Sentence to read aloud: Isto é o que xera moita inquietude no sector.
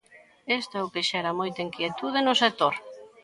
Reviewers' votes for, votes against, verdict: 1, 2, rejected